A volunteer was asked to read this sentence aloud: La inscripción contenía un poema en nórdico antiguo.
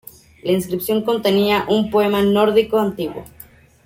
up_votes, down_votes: 2, 0